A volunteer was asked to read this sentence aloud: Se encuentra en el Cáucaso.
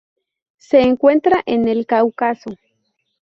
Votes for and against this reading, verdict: 2, 0, accepted